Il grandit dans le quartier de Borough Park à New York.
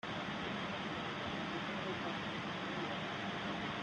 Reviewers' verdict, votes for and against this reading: rejected, 0, 2